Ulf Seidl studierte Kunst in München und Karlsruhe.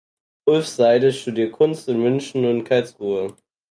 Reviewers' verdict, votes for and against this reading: rejected, 0, 4